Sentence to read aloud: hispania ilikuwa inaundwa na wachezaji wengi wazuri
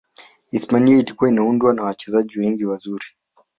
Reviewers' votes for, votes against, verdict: 2, 1, accepted